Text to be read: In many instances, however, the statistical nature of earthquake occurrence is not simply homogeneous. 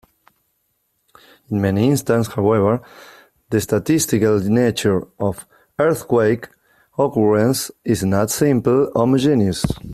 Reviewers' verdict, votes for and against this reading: rejected, 0, 2